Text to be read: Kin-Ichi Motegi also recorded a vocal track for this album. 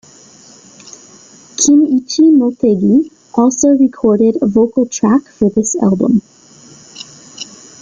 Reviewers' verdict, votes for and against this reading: rejected, 1, 2